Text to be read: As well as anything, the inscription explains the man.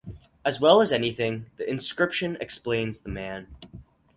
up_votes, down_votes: 4, 0